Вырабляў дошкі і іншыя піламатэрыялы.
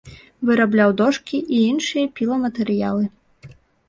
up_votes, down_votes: 2, 1